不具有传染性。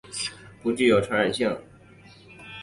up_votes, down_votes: 0, 2